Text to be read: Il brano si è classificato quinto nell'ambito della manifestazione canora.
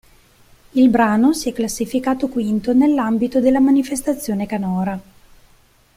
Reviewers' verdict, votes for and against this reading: accepted, 2, 0